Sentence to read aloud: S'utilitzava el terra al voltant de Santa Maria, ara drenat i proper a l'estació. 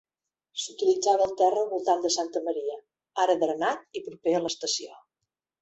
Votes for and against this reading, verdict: 2, 0, accepted